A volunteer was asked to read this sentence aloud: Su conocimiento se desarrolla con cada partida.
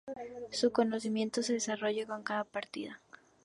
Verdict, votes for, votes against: accepted, 2, 0